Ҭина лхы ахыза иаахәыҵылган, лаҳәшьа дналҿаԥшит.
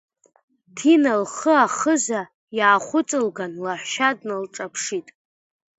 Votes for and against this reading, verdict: 2, 0, accepted